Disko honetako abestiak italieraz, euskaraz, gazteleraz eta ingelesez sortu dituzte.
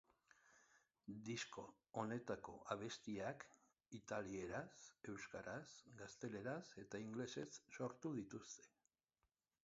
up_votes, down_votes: 3, 1